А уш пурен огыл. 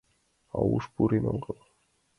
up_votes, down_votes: 2, 1